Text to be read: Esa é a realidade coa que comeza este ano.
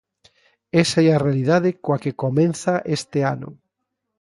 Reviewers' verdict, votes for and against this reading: rejected, 0, 2